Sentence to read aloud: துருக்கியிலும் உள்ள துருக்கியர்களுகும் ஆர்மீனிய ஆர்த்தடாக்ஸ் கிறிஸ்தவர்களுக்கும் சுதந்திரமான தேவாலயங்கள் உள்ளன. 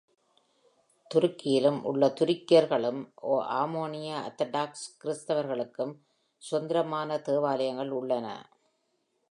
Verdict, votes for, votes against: rejected, 1, 2